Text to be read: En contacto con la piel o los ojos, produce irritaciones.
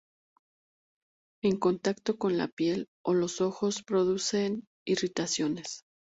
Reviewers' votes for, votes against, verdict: 2, 0, accepted